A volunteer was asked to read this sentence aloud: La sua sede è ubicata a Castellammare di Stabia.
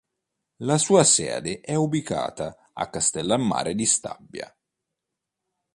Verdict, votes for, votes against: accepted, 2, 0